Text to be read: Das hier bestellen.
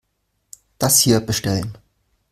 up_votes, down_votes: 3, 0